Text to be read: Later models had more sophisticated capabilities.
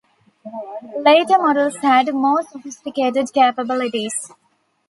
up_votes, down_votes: 2, 1